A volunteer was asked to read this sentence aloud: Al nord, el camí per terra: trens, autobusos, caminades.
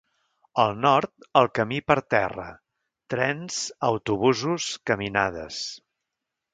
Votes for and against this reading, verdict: 2, 0, accepted